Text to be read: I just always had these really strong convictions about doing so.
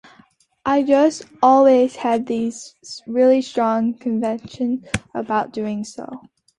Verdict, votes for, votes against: rejected, 1, 2